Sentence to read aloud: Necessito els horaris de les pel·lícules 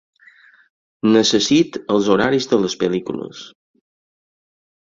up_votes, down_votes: 0, 4